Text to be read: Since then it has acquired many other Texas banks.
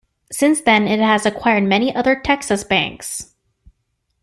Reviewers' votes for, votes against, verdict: 2, 0, accepted